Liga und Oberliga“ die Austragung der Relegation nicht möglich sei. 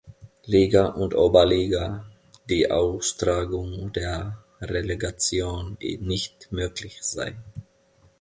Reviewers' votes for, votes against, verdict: 0, 2, rejected